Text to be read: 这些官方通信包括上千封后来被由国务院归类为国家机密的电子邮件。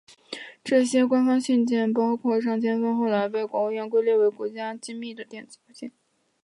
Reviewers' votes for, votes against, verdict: 2, 0, accepted